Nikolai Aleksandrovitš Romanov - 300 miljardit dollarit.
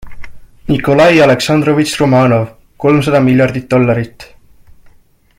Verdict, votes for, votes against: rejected, 0, 2